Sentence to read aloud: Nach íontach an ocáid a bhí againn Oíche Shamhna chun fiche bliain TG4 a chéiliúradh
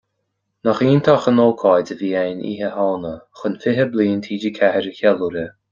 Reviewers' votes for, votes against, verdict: 0, 2, rejected